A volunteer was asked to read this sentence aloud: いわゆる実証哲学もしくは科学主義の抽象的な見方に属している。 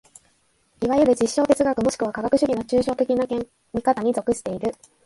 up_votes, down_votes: 2, 1